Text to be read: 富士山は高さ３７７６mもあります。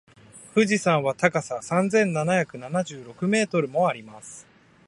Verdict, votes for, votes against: rejected, 0, 2